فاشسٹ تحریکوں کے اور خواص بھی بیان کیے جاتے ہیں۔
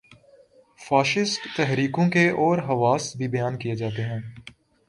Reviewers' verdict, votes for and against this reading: accepted, 2, 0